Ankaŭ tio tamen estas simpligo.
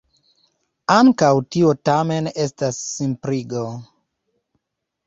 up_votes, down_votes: 2, 0